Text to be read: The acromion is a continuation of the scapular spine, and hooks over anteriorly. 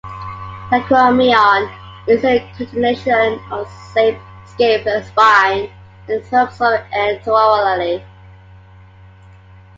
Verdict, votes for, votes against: rejected, 0, 3